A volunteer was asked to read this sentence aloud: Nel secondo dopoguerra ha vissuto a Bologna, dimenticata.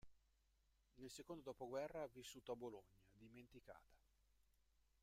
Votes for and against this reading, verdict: 0, 2, rejected